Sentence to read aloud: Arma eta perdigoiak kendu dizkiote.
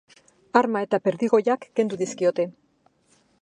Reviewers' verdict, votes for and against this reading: accepted, 2, 0